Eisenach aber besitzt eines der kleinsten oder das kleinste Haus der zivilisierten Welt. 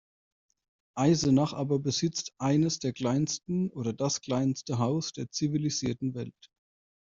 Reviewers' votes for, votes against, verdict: 2, 0, accepted